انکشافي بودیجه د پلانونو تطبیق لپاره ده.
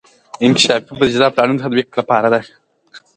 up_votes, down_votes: 2, 0